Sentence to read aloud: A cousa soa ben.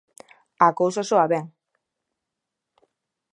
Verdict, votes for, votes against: accepted, 2, 0